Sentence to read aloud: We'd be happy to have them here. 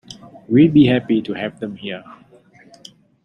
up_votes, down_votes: 2, 0